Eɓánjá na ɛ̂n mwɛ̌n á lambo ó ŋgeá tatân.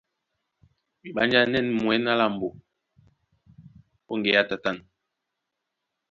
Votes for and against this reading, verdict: 2, 0, accepted